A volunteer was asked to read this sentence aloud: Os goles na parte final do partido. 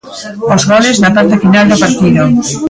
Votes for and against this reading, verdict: 2, 1, accepted